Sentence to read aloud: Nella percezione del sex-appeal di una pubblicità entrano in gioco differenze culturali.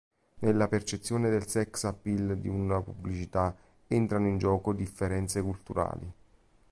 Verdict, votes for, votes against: accepted, 3, 0